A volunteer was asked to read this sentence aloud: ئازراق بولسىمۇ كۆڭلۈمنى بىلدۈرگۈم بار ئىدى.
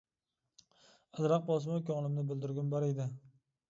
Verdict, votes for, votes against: accepted, 2, 0